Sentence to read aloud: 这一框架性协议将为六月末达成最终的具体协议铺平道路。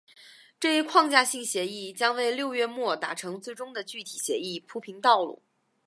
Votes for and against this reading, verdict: 3, 0, accepted